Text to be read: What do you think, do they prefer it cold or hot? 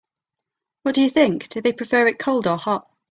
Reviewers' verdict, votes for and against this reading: accepted, 2, 0